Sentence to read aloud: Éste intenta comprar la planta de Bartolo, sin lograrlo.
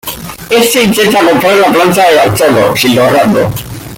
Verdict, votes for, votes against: rejected, 0, 2